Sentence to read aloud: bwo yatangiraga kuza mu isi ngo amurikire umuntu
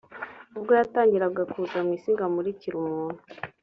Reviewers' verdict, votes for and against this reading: accepted, 3, 0